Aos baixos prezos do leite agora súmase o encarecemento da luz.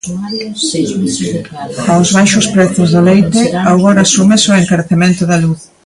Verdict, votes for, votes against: rejected, 0, 2